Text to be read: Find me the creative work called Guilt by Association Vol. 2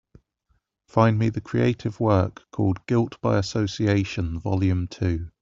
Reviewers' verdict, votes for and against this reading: rejected, 0, 2